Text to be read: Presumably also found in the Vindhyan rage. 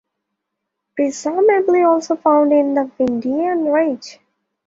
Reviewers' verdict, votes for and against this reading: accepted, 2, 0